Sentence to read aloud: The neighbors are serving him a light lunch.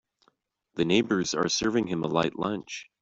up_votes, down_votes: 2, 0